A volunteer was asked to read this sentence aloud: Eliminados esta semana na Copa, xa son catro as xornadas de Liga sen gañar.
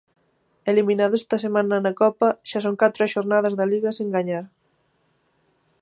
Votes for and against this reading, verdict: 0, 2, rejected